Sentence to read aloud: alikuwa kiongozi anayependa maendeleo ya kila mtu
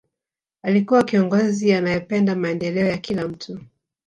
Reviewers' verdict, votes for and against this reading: accepted, 2, 0